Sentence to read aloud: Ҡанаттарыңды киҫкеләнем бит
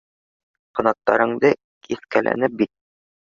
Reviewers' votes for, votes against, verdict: 0, 2, rejected